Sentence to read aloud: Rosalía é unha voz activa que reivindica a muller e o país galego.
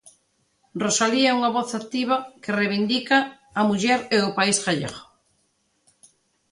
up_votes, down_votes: 1, 2